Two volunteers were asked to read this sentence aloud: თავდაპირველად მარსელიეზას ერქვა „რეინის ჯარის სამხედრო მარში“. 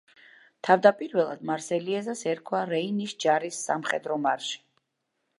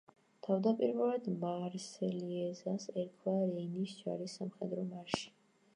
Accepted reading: first